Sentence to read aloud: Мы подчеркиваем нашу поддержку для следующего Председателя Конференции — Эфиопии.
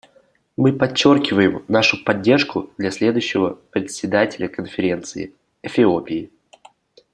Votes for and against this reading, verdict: 1, 2, rejected